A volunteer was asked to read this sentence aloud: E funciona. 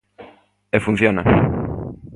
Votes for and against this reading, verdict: 2, 0, accepted